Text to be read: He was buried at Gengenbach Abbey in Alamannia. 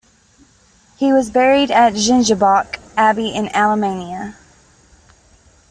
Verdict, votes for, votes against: rejected, 1, 2